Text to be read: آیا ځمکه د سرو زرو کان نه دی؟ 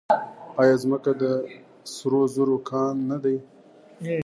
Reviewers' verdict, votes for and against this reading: rejected, 0, 2